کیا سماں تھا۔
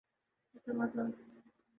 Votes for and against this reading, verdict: 0, 2, rejected